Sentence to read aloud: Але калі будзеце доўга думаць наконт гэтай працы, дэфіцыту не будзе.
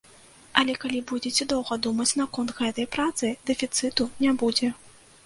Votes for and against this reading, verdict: 2, 0, accepted